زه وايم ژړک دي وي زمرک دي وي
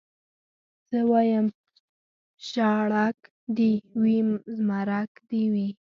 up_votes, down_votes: 1, 2